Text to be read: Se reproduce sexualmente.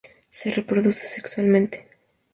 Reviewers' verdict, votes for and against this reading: accepted, 2, 0